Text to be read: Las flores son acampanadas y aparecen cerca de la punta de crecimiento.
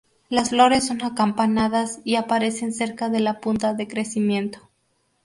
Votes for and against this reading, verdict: 2, 0, accepted